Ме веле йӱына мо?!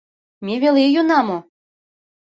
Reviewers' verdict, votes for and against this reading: accepted, 2, 0